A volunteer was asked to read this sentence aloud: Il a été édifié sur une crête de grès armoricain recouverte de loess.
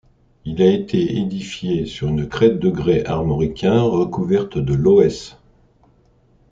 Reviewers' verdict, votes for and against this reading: accepted, 2, 0